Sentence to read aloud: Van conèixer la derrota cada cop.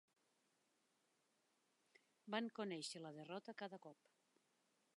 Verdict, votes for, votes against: accepted, 2, 0